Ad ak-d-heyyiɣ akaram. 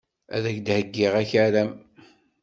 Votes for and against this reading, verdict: 2, 0, accepted